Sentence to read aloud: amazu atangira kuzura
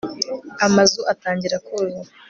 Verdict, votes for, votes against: accepted, 2, 0